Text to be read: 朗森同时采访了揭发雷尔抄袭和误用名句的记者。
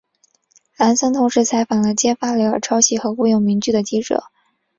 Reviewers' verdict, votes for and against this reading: accepted, 2, 1